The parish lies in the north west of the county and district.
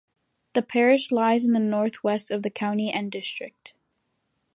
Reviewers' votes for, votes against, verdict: 2, 0, accepted